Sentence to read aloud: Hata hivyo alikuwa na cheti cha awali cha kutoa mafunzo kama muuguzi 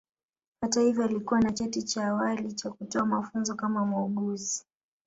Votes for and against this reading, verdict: 1, 2, rejected